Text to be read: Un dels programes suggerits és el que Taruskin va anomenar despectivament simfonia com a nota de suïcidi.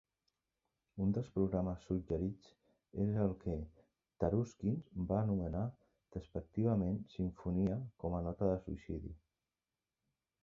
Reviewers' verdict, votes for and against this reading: rejected, 1, 3